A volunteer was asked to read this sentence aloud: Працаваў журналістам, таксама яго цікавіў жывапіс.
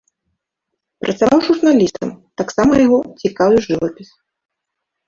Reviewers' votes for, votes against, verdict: 1, 2, rejected